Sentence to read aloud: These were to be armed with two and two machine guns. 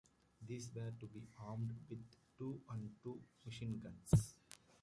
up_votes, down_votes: 2, 1